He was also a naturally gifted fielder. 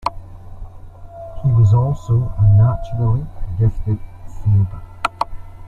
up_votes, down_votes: 1, 2